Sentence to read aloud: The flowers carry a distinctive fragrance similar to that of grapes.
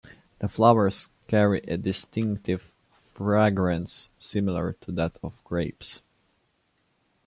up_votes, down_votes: 2, 1